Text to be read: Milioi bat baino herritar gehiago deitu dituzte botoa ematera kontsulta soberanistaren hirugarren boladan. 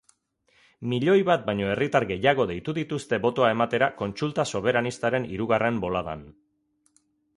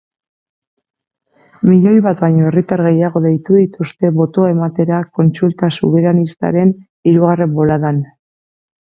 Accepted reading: first